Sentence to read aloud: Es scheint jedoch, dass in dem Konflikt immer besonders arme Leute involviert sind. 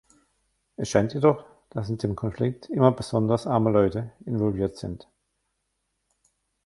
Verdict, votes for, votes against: rejected, 1, 2